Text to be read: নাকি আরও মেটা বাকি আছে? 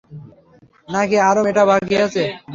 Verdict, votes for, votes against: accepted, 3, 0